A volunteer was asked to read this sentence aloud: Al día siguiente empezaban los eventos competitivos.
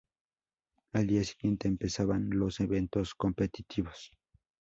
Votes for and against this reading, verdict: 0, 2, rejected